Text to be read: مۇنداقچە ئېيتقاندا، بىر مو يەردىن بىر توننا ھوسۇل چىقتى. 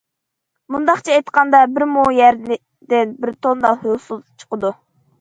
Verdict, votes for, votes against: rejected, 0, 2